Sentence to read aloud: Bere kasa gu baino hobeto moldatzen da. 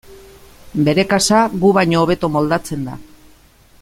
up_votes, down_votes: 2, 0